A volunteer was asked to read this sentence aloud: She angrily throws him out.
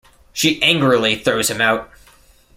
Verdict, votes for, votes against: accepted, 2, 0